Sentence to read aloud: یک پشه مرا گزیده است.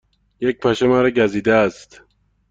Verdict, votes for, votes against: accepted, 2, 0